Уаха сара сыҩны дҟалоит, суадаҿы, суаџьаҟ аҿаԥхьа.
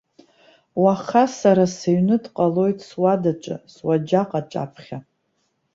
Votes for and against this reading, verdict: 2, 0, accepted